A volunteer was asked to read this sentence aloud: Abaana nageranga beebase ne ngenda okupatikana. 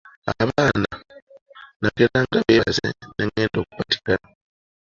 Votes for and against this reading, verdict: 0, 2, rejected